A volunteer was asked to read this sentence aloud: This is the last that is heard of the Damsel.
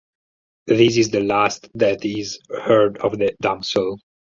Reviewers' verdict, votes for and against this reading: accepted, 4, 0